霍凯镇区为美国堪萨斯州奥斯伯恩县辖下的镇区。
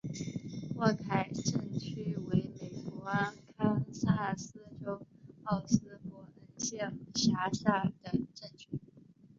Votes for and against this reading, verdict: 0, 2, rejected